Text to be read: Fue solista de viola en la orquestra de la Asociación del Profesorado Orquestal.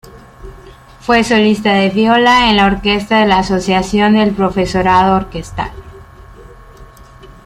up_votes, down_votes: 1, 2